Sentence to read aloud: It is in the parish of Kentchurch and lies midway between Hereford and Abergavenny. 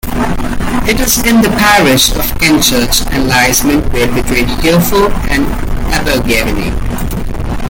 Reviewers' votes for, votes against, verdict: 2, 1, accepted